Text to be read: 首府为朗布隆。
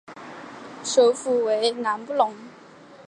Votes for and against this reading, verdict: 2, 0, accepted